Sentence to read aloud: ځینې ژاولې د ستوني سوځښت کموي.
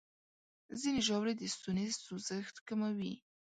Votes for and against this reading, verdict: 2, 0, accepted